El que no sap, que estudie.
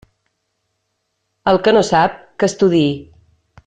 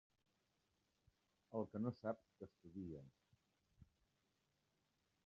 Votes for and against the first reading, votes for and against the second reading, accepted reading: 2, 0, 1, 2, first